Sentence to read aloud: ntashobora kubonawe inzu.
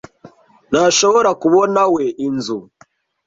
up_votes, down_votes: 1, 2